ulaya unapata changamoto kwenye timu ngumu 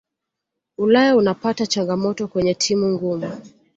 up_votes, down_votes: 2, 0